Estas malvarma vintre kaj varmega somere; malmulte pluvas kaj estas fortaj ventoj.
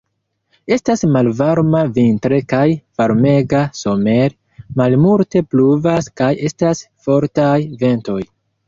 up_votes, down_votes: 1, 2